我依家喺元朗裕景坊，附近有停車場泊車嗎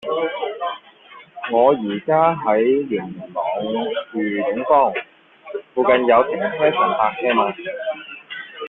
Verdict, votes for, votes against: accepted, 2, 1